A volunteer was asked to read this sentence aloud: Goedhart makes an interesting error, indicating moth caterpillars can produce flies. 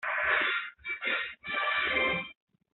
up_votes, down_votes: 0, 2